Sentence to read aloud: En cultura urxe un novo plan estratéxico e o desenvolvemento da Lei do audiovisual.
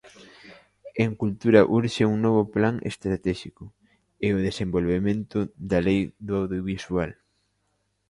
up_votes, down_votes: 2, 0